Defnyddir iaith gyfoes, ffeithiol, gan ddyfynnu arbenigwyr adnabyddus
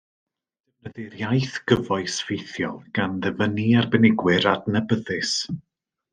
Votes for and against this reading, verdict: 1, 2, rejected